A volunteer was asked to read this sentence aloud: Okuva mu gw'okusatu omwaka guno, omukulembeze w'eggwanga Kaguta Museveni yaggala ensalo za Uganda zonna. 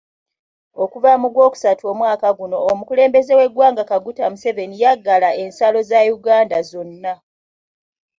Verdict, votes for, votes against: accepted, 3, 0